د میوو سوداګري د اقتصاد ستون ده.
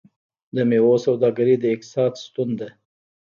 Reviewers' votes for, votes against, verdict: 0, 2, rejected